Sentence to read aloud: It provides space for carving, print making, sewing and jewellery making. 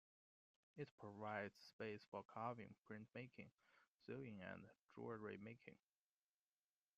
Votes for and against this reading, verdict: 2, 0, accepted